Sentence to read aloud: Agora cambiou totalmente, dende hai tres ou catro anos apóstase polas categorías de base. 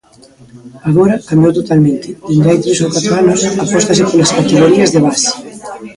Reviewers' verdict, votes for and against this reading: rejected, 0, 2